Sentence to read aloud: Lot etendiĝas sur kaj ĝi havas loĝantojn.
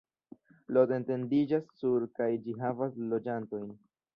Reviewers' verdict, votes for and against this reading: rejected, 1, 2